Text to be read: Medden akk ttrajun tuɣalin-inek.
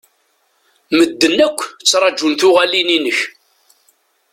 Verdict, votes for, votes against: accepted, 2, 1